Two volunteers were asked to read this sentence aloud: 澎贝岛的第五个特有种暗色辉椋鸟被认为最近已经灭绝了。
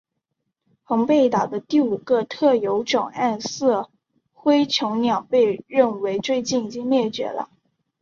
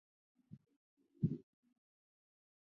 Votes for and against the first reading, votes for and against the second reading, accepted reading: 2, 0, 1, 2, first